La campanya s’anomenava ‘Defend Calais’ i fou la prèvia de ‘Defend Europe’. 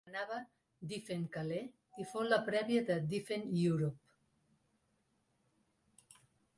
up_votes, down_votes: 0, 2